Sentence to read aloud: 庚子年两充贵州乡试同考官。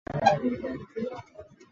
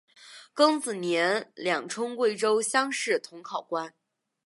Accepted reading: second